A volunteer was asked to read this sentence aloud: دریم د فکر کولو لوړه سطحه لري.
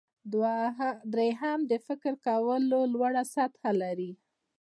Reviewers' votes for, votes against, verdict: 2, 1, accepted